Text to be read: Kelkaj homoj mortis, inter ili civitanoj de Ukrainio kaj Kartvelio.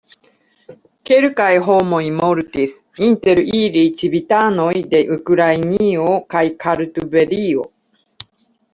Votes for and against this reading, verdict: 1, 2, rejected